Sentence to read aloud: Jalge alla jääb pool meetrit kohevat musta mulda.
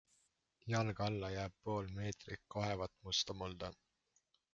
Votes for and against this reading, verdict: 2, 0, accepted